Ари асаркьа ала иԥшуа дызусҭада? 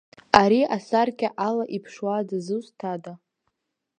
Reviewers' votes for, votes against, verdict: 2, 0, accepted